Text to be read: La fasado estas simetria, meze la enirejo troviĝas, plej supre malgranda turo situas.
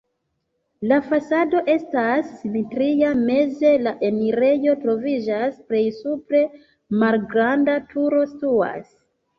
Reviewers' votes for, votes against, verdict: 0, 2, rejected